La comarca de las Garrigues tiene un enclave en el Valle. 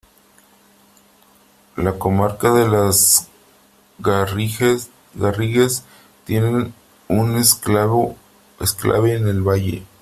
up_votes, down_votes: 0, 3